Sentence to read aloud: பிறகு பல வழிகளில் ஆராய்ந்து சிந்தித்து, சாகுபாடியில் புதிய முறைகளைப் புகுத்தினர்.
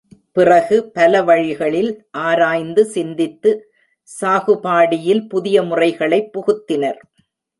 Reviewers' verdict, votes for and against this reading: rejected, 0, 2